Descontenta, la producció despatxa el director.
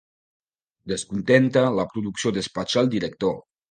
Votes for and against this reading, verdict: 2, 0, accepted